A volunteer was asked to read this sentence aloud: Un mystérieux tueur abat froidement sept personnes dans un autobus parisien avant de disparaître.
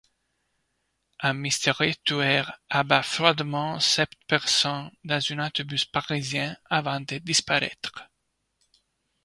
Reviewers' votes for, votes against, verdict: 1, 2, rejected